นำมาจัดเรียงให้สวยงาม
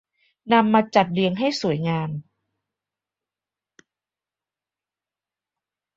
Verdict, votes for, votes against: accepted, 2, 0